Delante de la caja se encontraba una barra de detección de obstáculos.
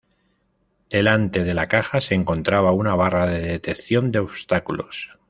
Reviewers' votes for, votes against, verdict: 2, 0, accepted